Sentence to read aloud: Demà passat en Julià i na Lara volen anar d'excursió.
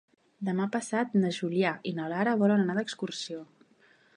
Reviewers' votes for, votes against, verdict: 1, 2, rejected